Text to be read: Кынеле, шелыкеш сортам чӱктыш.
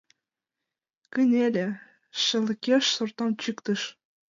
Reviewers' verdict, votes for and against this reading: accepted, 2, 0